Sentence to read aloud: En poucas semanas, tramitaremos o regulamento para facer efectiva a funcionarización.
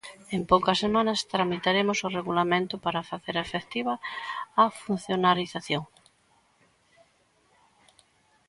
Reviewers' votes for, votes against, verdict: 2, 0, accepted